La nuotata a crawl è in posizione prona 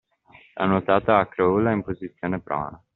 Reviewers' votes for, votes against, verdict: 2, 1, accepted